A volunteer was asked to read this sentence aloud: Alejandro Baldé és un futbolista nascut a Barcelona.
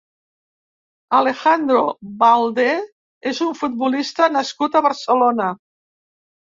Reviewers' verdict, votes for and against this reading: accepted, 4, 0